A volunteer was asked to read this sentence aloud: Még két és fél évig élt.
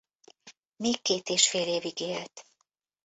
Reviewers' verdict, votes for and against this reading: accepted, 2, 0